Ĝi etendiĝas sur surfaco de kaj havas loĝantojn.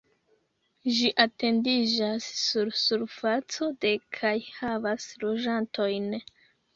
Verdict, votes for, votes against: rejected, 0, 2